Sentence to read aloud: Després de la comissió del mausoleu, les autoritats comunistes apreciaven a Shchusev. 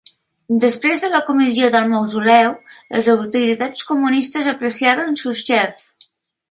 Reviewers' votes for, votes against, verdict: 2, 0, accepted